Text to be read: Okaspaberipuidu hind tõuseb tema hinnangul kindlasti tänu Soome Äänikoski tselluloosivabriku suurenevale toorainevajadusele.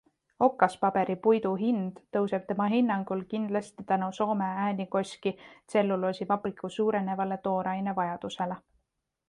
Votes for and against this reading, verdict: 2, 0, accepted